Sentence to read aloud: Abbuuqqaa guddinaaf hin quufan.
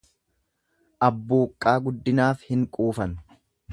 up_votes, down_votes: 2, 0